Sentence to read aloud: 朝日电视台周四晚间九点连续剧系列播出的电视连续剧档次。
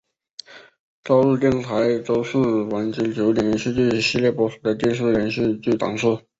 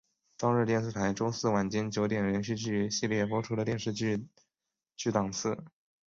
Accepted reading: second